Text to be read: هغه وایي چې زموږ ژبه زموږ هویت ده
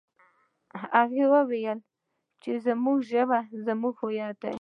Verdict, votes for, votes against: rejected, 1, 2